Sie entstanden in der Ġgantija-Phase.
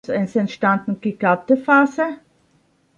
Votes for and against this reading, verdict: 0, 2, rejected